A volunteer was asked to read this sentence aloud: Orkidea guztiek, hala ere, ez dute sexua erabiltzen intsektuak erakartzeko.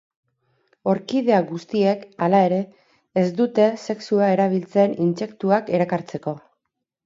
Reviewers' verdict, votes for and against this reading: accepted, 2, 0